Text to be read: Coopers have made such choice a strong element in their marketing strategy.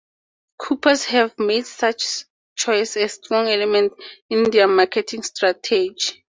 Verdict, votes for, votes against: accepted, 4, 0